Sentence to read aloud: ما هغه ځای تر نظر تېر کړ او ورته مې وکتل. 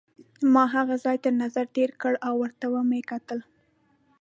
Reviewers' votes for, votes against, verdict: 2, 0, accepted